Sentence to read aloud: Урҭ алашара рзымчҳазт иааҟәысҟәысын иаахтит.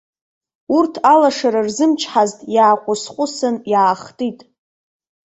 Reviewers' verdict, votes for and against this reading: accepted, 2, 1